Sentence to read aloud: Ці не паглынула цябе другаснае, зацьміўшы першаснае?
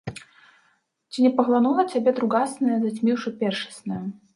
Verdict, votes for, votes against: rejected, 1, 2